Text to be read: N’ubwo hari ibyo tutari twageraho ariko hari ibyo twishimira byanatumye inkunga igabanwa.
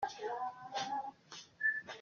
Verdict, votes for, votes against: rejected, 0, 2